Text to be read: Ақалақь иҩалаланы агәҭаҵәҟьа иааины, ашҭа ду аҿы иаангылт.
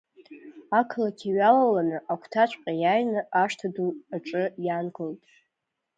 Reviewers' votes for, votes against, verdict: 2, 0, accepted